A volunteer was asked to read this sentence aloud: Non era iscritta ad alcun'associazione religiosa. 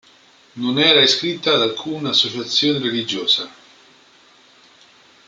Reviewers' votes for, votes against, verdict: 2, 1, accepted